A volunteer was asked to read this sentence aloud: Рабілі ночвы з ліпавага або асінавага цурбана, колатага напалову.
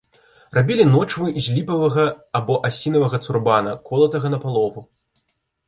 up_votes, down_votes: 2, 0